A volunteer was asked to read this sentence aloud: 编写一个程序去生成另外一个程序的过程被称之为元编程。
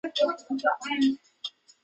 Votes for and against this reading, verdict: 0, 6, rejected